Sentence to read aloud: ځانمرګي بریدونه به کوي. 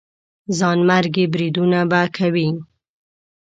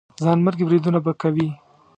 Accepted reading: first